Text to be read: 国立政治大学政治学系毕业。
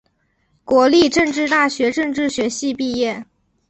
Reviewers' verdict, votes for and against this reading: accepted, 2, 0